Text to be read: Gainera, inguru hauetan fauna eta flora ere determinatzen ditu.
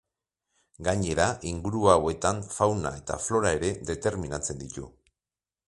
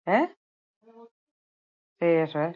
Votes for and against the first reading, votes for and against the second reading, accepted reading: 2, 0, 0, 4, first